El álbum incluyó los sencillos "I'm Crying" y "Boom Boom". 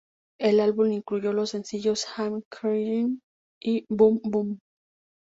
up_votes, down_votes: 2, 0